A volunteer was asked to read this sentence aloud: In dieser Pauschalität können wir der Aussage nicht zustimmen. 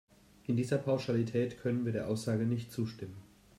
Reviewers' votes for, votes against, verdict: 2, 0, accepted